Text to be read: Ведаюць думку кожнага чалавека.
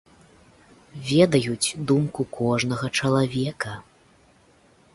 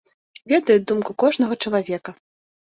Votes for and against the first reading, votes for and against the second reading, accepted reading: 2, 0, 1, 2, first